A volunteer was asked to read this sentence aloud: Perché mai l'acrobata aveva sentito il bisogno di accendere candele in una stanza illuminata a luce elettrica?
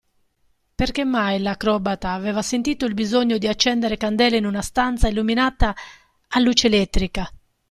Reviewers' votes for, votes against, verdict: 2, 0, accepted